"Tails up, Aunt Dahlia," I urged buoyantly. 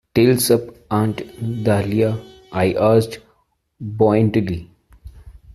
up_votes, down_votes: 0, 2